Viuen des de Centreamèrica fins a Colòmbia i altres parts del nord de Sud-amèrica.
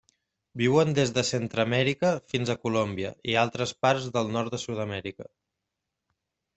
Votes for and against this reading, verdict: 2, 0, accepted